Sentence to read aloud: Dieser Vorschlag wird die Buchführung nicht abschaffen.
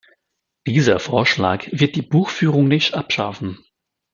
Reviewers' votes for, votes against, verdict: 2, 1, accepted